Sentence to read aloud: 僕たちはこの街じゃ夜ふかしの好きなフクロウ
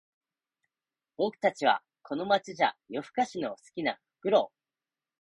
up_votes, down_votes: 3, 0